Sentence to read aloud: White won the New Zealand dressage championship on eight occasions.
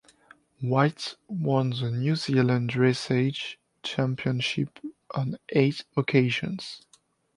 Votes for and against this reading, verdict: 2, 0, accepted